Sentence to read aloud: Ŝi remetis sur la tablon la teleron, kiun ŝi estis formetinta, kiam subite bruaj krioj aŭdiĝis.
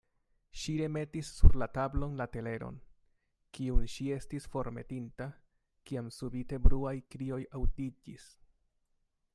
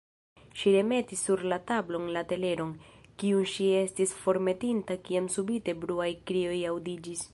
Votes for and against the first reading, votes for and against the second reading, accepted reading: 2, 0, 1, 3, first